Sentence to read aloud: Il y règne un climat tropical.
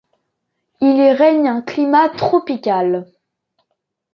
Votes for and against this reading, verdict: 2, 0, accepted